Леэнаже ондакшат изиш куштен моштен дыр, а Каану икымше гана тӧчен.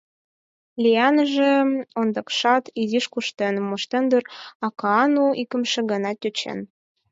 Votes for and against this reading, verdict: 4, 2, accepted